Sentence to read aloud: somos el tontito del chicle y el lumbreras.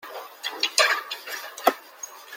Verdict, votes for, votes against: rejected, 0, 2